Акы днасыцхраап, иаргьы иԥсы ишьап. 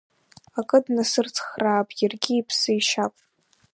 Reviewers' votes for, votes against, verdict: 1, 2, rejected